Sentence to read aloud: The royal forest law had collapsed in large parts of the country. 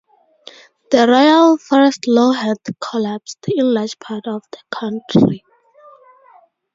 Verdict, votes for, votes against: rejected, 0, 4